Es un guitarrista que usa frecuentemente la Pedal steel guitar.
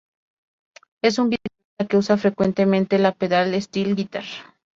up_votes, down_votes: 0, 2